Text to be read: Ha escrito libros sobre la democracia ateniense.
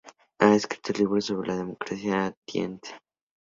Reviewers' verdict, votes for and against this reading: rejected, 0, 2